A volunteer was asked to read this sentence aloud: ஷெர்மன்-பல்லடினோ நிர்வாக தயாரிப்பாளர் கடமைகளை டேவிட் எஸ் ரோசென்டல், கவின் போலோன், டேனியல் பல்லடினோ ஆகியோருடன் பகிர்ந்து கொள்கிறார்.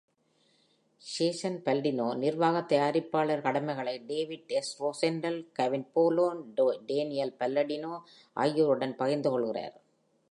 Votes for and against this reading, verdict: 1, 3, rejected